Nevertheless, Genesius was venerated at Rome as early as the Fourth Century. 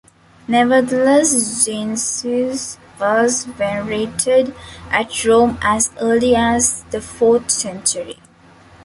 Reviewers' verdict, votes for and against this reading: rejected, 0, 2